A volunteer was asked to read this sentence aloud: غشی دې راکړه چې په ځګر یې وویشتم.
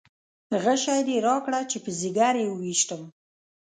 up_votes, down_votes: 1, 2